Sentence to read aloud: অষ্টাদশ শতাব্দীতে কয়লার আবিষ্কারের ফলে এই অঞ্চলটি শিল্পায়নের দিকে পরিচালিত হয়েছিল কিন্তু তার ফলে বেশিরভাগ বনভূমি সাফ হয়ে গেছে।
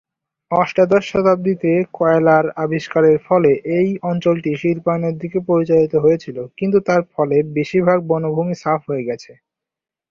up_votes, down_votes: 2, 0